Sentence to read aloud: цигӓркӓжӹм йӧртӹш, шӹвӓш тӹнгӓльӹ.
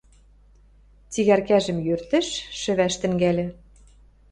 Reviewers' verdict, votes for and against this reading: accepted, 2, 0